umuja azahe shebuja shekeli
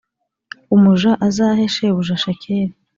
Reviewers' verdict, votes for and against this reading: accepted, 2, 0